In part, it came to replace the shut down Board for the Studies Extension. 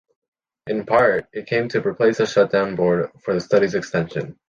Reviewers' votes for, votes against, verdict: 3, 0, accepted